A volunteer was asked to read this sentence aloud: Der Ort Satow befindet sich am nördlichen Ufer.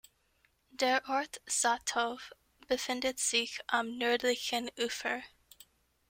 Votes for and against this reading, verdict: 1, 2, rejected